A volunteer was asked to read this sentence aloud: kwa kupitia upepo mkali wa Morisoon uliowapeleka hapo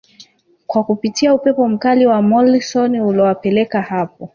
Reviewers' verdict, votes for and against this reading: rejected, 1, 2